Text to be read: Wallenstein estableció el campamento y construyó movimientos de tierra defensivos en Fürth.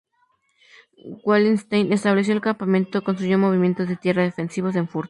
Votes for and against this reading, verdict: 0, 2, rejected